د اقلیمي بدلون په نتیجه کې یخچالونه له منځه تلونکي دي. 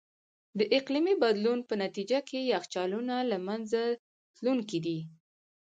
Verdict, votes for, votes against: rejected, 0, 2